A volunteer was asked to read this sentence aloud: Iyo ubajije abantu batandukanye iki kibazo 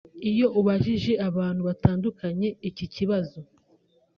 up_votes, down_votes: 3, 0